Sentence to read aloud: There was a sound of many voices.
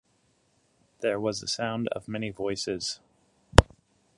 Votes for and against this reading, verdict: 1, 2, rejected